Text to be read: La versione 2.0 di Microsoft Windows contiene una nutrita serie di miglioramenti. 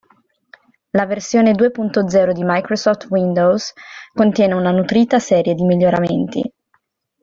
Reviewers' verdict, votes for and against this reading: rejected, 0, 2